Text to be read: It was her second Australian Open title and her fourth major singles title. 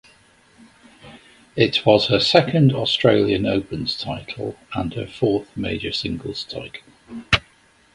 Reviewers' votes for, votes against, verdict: 0, 2, rejected